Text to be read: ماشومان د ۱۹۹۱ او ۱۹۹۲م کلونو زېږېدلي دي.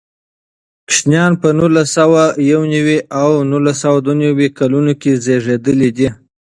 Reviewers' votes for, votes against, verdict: 0, 2, rejected